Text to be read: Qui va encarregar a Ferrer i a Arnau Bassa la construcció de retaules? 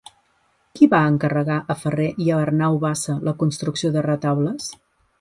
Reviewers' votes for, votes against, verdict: 2, 0, accepted